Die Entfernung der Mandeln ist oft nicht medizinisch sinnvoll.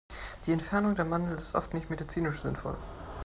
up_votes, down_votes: 2, 0